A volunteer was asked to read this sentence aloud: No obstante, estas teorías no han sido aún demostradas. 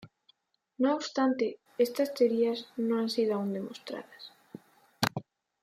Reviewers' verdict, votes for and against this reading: rejected, 0, 2